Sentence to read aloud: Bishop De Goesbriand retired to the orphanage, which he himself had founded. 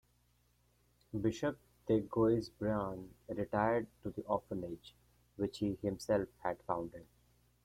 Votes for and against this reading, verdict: 1, 2, rejected